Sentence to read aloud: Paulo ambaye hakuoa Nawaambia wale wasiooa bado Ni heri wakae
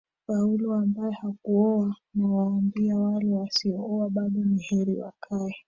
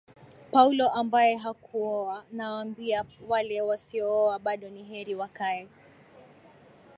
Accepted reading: second